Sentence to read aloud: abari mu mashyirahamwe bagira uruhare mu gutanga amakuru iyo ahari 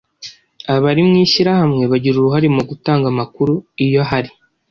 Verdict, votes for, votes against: accepted, 2, 0